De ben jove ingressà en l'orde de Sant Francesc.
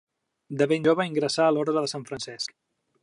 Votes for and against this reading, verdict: 2, 0, accepted